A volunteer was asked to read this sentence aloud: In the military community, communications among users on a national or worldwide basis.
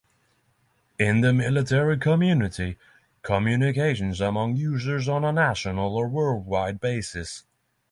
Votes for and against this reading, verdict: 6, 0, accepted